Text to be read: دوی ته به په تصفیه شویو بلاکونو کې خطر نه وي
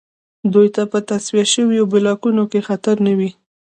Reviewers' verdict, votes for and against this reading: accepted, 2, 0